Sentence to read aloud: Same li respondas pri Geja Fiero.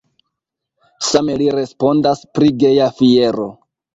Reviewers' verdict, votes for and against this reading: accepted, 2, 0